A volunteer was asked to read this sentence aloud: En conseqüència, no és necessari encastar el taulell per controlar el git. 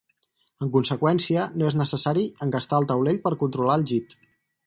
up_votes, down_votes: 0, 2